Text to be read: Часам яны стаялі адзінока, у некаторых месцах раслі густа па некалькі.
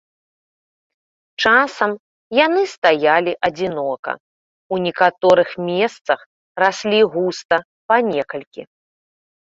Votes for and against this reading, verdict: 2, 0, accepted